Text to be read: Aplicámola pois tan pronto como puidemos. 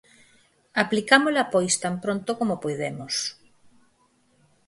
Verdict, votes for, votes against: accepted, 4, 0